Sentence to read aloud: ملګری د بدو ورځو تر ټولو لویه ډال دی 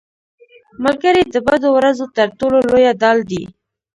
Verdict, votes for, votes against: rejected, 0, 2